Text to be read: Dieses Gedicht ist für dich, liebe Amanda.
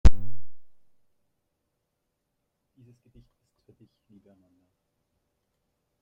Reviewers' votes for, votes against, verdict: 0, 2, rejected